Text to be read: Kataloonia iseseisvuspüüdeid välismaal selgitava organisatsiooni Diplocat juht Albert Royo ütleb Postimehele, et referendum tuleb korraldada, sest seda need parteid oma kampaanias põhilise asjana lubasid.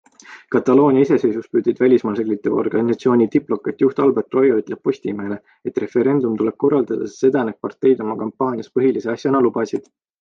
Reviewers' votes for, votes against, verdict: 2, 0, accepted